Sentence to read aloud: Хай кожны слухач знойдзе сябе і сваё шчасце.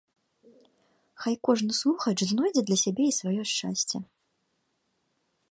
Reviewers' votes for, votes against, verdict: 0, 3, rejected